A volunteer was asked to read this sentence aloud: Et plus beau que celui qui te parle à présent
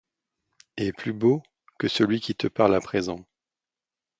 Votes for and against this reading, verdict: 2, 0, accepted